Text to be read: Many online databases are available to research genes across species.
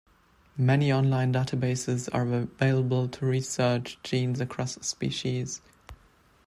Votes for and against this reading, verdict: 2, 0, accepted